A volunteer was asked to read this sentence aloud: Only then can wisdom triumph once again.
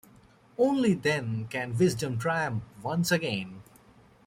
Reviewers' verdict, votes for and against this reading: accepted, 2, 0